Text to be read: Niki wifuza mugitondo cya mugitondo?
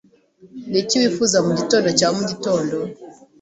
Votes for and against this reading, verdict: 2, 0, accepted